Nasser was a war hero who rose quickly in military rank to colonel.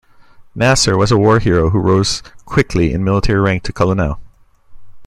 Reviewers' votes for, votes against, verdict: 1, 2, rejected